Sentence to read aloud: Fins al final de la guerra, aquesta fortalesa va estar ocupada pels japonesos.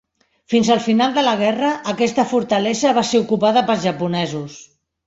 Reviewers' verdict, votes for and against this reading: rejected, 0, 3